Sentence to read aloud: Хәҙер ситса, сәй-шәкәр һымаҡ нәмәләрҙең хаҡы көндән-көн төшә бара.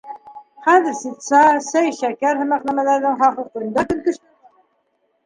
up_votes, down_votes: 1, 2